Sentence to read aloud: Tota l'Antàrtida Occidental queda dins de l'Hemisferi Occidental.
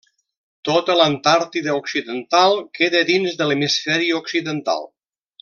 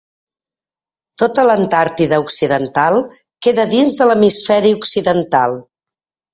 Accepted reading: second